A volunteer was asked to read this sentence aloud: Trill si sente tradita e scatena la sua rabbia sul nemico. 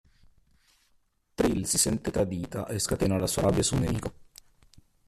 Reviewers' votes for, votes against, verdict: 0, 2, rejected